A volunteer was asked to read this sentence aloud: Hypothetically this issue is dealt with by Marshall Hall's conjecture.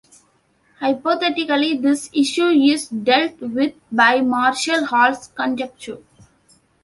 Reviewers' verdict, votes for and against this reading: accepted, 2, 0